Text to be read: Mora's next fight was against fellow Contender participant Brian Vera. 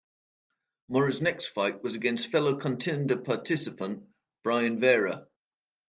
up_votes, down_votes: 2, 0